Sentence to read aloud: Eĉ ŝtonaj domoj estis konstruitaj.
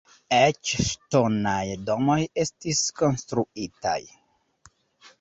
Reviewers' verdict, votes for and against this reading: rejected, 1, 2